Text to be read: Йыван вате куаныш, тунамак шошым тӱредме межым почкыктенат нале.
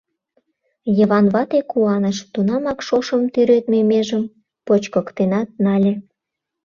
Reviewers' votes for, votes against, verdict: 2, 0, accepted